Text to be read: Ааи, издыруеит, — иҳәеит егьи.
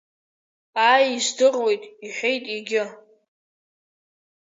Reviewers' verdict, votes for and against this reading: rejected, 1, 2